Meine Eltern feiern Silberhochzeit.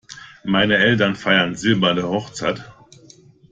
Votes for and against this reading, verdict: 0, 2, rejected